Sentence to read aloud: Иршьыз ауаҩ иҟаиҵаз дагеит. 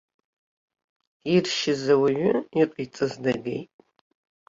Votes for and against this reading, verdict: 0, 2, rejected